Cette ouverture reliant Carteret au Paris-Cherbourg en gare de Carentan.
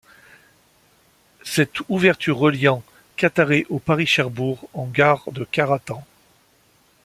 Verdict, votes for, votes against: rejected, 1, 3